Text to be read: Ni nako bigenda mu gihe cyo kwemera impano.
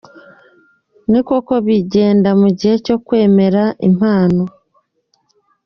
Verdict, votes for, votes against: accepted, 2, 0